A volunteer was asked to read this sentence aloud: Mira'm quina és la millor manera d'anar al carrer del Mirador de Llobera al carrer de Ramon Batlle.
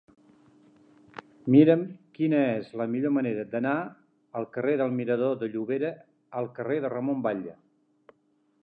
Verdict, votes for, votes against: accepted, 2, 1